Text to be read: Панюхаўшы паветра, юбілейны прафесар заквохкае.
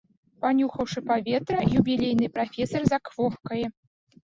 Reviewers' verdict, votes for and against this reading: accepted, 3, 1